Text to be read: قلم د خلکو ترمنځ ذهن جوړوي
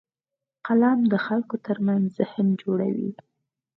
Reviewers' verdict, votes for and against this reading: accepted, 4, 0